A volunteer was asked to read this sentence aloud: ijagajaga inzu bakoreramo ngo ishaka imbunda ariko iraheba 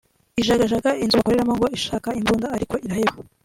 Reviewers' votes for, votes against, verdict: 0, 2, rejected